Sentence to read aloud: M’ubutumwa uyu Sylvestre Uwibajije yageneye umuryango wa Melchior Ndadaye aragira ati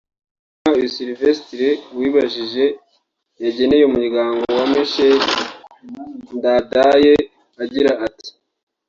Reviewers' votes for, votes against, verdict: 2, 3, rejected